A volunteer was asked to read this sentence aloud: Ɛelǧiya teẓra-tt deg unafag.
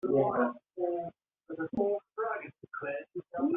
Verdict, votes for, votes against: rejected, 0, 2